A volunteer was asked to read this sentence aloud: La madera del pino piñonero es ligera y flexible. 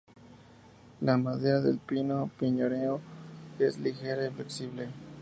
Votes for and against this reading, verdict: 0, 2, rejected